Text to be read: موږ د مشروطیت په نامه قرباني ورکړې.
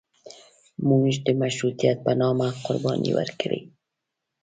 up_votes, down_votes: 2, 3